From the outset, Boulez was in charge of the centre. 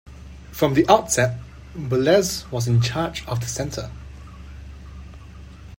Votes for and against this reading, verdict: 2, 0, accepted